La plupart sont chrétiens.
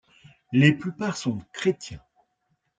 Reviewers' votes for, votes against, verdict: 0, 2, rejected